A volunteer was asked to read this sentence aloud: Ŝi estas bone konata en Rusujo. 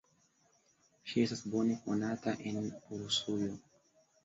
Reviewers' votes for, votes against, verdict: 2, 0, accepted